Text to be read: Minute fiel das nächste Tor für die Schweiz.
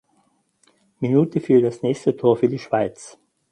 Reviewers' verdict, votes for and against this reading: accepted, 4, 0